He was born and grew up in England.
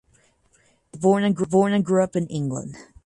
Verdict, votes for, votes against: rejected, 0, 4